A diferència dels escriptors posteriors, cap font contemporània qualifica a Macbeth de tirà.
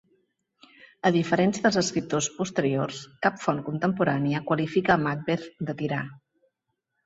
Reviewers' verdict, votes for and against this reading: accepted, 4, 0